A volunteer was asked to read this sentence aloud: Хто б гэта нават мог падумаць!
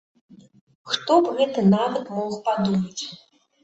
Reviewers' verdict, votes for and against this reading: accepted, 2, 0